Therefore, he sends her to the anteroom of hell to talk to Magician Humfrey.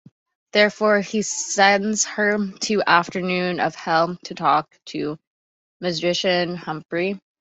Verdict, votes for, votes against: rejected, 1, 2